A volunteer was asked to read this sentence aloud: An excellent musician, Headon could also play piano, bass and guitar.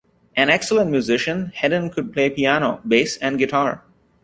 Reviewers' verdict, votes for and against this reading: rejected, 0, 2